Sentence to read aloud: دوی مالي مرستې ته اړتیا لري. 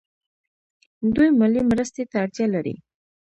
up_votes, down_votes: 2, 0